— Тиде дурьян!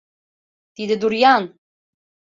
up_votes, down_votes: 2, 0